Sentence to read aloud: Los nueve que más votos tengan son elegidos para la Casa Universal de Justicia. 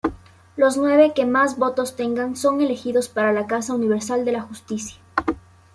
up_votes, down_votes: 0, 2